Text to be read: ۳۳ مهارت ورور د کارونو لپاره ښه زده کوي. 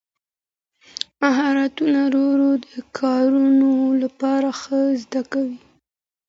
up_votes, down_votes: 0, 2